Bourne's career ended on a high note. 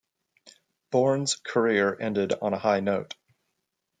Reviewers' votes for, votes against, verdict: 2, 0, accepted